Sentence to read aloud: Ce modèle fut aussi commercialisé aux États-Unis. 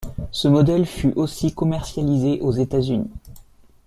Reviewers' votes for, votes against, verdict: 2, 0, accepted